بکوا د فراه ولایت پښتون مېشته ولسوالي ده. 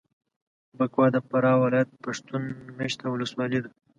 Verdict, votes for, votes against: accepted, 2, 0